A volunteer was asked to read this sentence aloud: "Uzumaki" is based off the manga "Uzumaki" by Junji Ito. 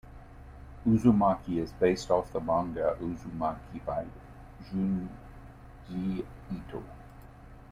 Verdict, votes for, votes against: rejected, 1, 2